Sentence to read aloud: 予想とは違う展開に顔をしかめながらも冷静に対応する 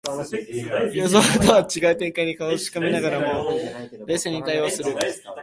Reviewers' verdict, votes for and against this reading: rejected, 0, 2